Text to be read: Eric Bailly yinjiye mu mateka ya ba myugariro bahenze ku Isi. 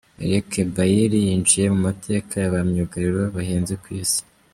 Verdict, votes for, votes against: rejected, 0, 2